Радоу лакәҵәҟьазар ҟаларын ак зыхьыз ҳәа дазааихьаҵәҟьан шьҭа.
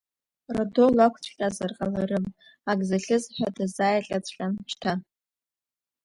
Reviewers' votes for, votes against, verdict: 1, 2, rejected